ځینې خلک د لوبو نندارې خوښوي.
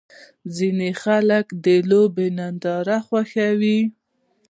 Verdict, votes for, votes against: rejected, 1, 2